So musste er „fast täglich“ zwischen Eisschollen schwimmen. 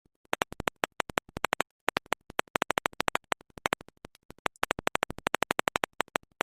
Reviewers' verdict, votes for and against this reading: rejected, 0, 2